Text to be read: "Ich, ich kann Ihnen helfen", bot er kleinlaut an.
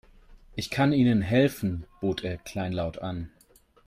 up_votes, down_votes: 0, 2